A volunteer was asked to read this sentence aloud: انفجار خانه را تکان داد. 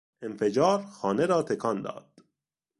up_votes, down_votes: 2, 0